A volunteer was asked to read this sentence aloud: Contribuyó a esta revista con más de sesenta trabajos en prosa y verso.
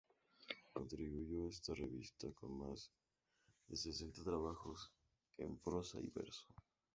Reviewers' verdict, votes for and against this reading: rejected, 0, 2